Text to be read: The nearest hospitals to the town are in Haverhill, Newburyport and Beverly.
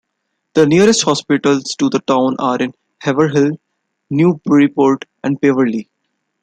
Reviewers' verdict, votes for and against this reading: rejected, 0, 2